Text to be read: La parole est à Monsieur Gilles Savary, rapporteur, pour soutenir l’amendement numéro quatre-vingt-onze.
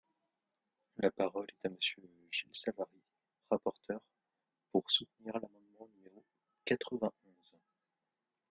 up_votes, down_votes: 0, 2